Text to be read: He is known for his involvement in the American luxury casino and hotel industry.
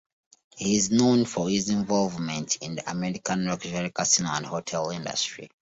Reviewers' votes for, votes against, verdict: 2, 0, accepted